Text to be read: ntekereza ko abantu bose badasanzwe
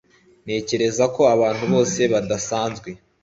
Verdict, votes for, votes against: accepted, 2, 0